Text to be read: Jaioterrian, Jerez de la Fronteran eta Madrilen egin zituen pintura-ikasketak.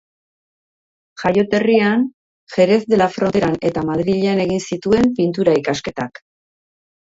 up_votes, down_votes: 2, 0